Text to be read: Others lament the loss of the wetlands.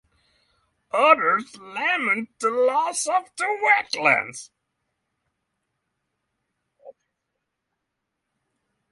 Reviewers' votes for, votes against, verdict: 3, 0, accepted